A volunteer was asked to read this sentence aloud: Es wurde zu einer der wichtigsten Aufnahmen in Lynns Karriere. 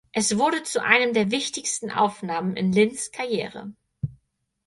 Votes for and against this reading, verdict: 4, 0, accepted